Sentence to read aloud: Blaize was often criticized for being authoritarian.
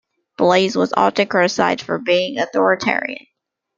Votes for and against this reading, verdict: 2, 0, accepted